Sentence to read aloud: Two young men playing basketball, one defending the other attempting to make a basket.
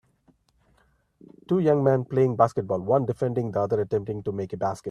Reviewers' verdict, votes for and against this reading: rejected, 1, 2